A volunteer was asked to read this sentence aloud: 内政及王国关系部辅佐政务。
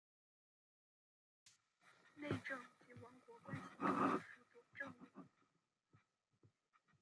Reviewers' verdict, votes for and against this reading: rejected, 0, 2